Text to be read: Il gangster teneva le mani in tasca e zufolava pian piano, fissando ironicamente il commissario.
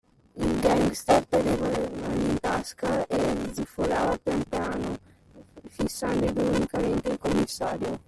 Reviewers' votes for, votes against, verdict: 1, 2, rejected